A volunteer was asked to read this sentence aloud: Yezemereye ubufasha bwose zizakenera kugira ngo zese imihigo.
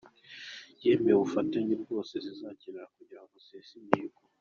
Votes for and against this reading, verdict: 1, 2, rejected